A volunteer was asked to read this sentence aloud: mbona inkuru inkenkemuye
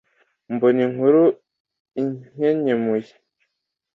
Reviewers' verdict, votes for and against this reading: accepted, 2, 0